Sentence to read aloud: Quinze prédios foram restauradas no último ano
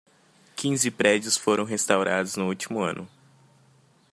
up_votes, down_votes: 2, 0